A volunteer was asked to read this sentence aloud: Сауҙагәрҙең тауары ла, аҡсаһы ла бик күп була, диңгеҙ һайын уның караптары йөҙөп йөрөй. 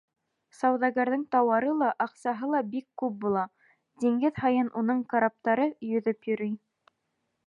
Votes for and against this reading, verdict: 1, 2, rejected